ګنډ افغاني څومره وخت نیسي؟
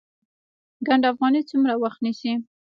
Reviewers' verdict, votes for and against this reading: rejected, 1, 2